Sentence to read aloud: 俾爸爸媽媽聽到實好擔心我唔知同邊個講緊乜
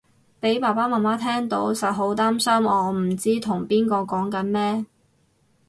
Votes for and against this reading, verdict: 2, 4, rejected